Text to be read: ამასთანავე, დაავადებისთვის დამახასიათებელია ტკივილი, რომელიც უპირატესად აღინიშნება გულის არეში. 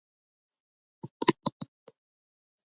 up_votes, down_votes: 0, 2